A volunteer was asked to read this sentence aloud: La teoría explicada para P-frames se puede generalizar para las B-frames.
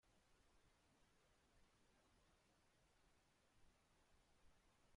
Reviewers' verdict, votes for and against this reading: rejected, 0, 2